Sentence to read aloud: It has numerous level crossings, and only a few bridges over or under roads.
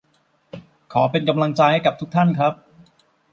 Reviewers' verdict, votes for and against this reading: rejected, 0, 2